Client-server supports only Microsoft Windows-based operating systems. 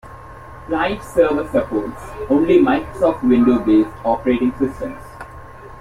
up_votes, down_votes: 2, 0